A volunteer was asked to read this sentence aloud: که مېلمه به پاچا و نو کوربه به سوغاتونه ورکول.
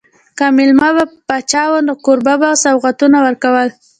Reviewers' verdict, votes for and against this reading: rejected, 1, 2